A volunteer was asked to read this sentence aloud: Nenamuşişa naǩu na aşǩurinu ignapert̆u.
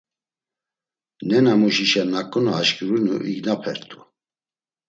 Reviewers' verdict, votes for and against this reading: accepted, 2, 0